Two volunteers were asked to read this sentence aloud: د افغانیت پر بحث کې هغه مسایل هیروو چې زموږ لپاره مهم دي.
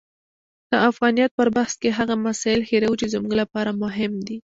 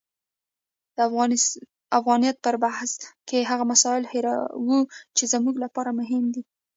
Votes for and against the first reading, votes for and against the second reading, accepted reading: 1, 2, 2, 0, second